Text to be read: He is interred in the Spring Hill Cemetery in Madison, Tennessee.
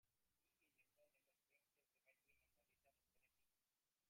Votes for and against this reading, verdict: 1, 2, rejected